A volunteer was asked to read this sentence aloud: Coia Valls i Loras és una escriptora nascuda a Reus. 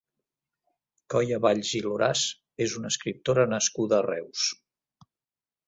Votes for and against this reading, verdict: 0, 2, rejected